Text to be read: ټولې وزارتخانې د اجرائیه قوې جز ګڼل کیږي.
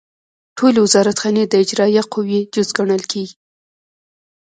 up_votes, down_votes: 1, 2